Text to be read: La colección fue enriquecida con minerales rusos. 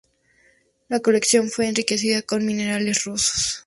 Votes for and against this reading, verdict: 2, 0, accepted